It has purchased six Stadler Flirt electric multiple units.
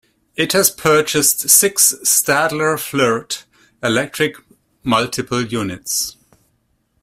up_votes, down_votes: 2, 0